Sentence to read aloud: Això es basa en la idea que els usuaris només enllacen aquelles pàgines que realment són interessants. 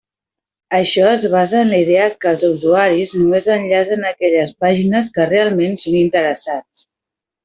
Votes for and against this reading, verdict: 1, 2, rejected